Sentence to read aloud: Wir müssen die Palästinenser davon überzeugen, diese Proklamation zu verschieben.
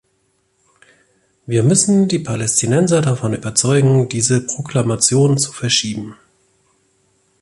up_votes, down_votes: 2, 0